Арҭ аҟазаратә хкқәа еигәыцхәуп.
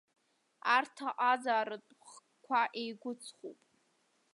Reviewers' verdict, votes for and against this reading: rejected, 0, 2